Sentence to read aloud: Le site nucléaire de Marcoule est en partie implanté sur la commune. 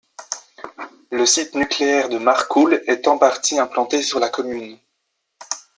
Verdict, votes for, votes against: accepted, 2, 0